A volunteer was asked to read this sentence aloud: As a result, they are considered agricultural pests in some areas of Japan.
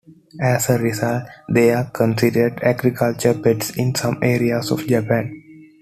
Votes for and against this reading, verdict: 2, 1, accepted